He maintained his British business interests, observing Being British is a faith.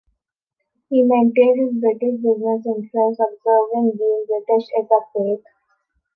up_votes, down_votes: 2, 1